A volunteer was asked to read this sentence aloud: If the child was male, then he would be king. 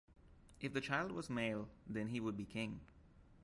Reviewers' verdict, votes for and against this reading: accepted, 2, 0